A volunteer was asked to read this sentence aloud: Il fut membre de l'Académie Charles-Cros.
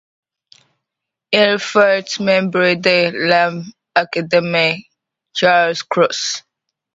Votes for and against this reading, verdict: 2, 0, accepted